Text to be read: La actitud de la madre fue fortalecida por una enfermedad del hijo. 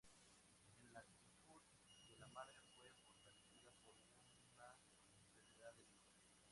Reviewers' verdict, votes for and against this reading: rejected, 0, 2